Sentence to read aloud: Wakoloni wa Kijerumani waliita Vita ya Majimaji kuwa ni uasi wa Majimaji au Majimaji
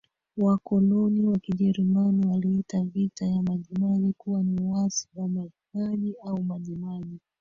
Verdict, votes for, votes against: accepted, 3, 2